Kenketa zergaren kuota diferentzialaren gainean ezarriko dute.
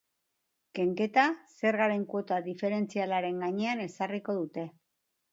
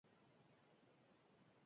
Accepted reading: first